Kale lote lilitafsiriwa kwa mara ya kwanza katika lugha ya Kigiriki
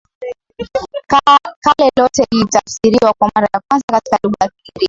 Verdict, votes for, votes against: rejected, 0, 2